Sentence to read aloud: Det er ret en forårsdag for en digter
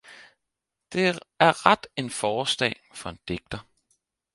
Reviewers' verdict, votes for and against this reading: rejected, 2, 4